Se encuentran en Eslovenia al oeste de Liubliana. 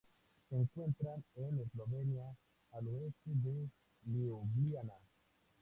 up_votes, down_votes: 0, 2